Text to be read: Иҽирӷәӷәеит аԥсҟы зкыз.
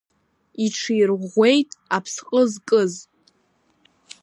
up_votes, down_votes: 2, 0